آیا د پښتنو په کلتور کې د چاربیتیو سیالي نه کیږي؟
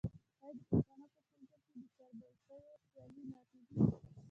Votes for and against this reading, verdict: 1, 2, rejected